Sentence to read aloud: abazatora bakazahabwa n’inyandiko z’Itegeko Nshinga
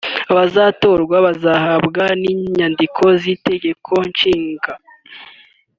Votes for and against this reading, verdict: 0, 3, rejected